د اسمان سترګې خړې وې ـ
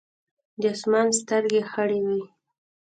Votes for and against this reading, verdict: 2, 0, accepted